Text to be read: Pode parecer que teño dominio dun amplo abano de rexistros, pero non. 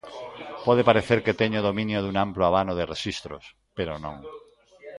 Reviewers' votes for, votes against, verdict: 0, 2, rejected